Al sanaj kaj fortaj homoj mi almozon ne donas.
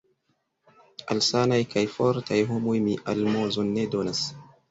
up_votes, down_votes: 0, 2